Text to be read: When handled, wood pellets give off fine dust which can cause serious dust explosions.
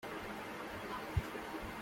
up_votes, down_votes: 0, 2